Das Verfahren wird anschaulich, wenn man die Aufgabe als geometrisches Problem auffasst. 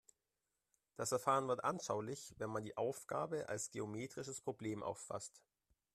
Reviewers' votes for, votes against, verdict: 2, 0, accepted